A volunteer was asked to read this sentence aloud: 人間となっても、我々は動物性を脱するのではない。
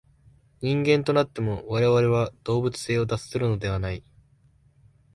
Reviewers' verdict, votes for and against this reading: accepted, 2, 0